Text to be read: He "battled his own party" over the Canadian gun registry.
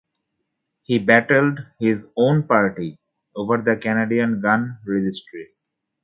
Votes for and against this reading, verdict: 2, 0, accepted